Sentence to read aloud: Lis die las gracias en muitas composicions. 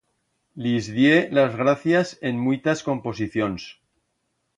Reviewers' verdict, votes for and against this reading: accepted, 2, 0